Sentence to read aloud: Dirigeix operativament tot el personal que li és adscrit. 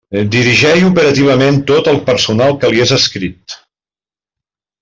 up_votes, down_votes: 1, 2